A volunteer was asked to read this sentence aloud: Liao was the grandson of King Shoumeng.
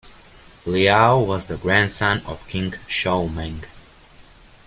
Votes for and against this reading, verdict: 2, 0, accepted